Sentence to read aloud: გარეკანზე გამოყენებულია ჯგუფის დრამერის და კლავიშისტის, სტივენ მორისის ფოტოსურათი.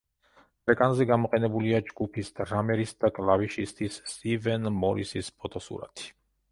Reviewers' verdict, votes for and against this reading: rejected, 0, 2